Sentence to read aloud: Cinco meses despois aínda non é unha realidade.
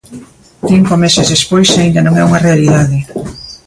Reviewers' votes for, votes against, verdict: 2, 0, accepted